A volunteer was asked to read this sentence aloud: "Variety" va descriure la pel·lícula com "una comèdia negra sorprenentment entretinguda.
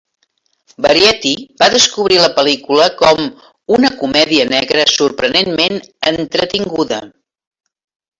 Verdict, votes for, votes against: rejected, 0, 3